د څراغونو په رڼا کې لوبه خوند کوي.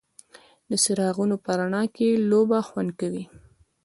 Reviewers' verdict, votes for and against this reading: rejected, 1, 2